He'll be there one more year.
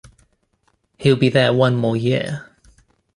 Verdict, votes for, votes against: accepted, 2, 0